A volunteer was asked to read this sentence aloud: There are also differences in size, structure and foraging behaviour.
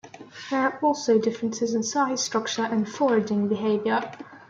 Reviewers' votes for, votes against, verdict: 1, 2, rejected